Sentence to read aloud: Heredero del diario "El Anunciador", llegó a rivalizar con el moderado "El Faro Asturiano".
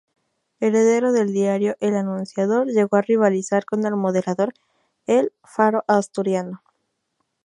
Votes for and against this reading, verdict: 2, 2, rejected